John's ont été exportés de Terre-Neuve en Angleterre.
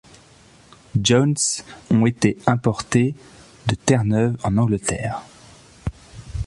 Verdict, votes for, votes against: rejected, 1, 2